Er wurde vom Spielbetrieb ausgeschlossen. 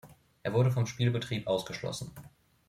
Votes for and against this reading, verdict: 2, 0, accepted